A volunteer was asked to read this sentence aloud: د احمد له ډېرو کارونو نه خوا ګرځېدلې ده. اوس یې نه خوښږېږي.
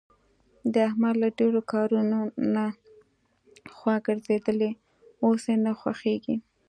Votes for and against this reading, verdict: 2, 1, accepted